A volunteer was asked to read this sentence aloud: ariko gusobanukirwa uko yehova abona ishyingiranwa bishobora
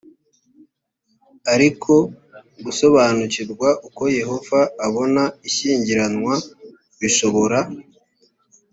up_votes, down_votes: 2, 0